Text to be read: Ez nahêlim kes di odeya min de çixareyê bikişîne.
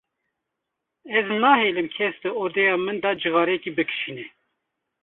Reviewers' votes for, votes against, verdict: 1, 2, rejected